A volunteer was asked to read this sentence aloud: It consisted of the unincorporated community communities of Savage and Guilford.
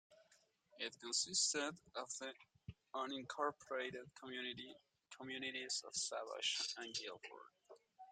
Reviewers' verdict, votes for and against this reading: rejected, 0, 2